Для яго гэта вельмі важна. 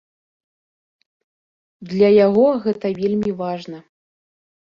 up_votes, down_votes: 2, 0